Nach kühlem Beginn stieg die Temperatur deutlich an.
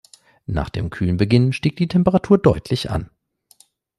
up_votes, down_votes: 1, 2